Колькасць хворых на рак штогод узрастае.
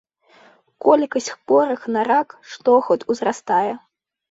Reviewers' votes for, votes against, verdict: 2, 0, accepted